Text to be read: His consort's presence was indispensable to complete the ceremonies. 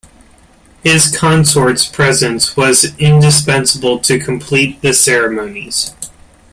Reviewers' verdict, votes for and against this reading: accepted, 2, 1